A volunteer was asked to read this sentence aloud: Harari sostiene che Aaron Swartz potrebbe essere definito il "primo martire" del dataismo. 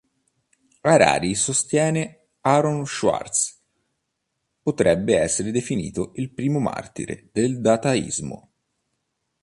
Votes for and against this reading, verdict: 1, 2, rejected